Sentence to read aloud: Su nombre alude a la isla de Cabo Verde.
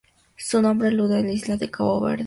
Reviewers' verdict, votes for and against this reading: accepted, 4, 2